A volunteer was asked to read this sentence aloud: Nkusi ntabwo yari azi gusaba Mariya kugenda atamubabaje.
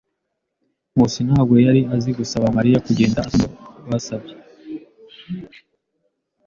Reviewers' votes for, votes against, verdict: 0, 2, rejected